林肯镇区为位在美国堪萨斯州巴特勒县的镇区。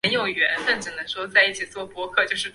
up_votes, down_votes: 1, 2